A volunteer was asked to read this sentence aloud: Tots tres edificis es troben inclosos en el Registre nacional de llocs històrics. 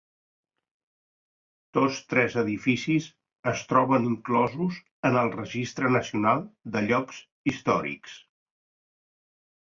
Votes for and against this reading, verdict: 2, 0, accepted